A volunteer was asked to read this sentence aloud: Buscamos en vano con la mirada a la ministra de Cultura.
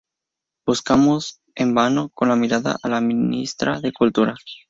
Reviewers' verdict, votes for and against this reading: accepted, 2, 0